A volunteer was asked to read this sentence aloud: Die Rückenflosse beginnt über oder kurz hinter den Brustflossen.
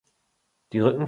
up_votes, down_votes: 0, 2